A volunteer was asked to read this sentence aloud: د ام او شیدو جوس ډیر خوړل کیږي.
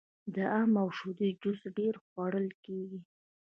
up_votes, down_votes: 2, 0